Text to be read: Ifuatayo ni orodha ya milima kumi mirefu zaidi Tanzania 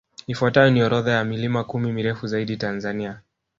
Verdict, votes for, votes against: accepted, 2, 1